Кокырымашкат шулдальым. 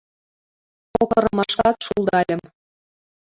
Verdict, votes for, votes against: rejected, 0, 2